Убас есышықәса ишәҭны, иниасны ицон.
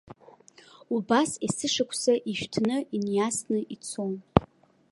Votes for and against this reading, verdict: 2, 0, accepted